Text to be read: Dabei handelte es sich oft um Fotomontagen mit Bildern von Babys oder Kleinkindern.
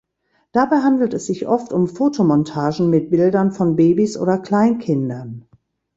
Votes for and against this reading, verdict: 1, 2, rejected